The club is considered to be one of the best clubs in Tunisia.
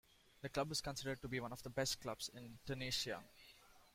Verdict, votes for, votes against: accepted, 2, 1